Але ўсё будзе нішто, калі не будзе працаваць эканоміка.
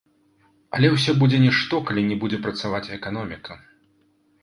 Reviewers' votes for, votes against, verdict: 1, 2, rejected